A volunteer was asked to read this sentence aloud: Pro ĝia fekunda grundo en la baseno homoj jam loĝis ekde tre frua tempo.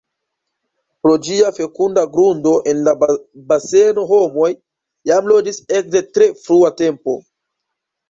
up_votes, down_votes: 0, 2